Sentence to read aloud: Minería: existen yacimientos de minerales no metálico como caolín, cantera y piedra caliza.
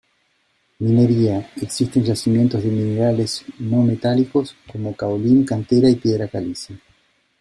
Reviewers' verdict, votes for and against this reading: rejected, 1, 2